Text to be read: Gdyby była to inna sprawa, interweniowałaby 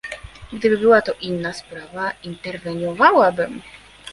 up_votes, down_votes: 0, 2